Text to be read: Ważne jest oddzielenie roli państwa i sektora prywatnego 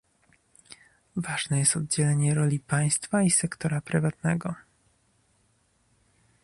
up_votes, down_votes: 2, 0